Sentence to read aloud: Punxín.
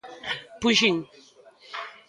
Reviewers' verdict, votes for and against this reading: rejected, 1, 2